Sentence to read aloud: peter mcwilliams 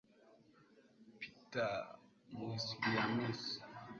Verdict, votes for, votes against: rejected, 1, 3